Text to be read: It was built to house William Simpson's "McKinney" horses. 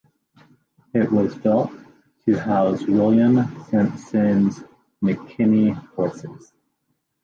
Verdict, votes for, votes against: accepted, 2, 0